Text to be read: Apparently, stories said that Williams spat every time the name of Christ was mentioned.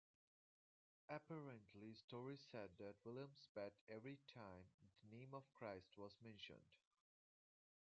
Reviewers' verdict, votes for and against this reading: rejected, 0, 2